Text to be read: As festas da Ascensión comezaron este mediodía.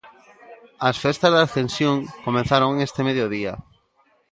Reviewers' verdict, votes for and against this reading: accepted, 2, 0